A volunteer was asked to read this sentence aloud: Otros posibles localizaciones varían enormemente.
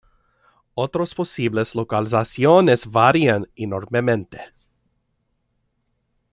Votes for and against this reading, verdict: 2, 1, accepted